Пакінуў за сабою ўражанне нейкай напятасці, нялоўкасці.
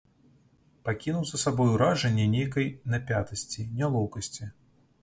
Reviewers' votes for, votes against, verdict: 2, 1, accepted